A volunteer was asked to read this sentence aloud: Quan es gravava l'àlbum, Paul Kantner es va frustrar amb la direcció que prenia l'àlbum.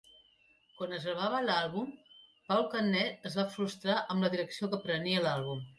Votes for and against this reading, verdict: 0, 2, rejected